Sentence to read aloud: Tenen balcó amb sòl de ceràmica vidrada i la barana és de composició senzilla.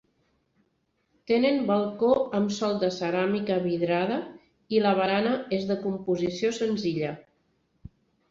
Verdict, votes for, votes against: accepted, 3, 0